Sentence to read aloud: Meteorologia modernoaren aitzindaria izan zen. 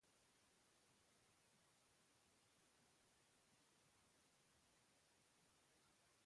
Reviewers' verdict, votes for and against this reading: rejected, 0, 2